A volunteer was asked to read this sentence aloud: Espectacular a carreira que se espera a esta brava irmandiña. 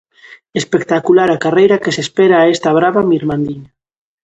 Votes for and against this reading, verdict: 0, 2, rejected